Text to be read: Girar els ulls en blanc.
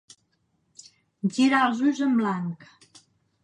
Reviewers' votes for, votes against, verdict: 2, 0, accepted